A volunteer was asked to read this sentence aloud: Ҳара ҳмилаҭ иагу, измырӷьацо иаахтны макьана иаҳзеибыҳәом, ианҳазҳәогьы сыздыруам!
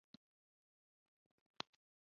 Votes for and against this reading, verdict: 1, 2, rejected